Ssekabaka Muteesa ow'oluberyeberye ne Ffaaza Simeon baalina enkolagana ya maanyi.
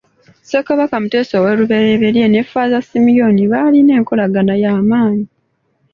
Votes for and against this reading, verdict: 2, 0, accepted